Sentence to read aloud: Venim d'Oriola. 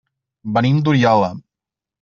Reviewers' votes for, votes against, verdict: 0, 2, rejected